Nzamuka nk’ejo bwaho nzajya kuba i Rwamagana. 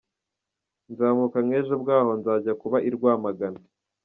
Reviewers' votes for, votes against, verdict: 2, 0, accepted